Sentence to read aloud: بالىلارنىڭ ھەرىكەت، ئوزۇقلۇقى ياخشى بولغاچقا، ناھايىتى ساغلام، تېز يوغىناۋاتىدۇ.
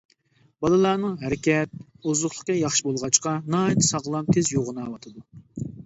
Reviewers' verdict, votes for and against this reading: accepted, 2, 0